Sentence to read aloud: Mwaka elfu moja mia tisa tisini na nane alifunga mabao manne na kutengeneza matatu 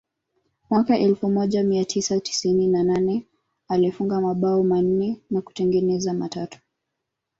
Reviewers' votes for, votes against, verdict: 1, 2, rejected